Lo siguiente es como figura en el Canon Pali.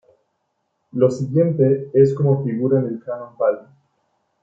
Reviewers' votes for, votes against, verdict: 0, 2, rejected